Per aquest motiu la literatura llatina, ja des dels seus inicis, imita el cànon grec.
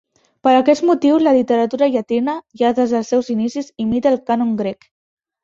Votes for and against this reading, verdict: 2, 0, accepted